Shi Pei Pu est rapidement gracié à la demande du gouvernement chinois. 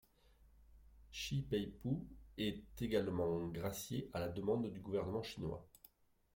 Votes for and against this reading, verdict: 1, 2, rejected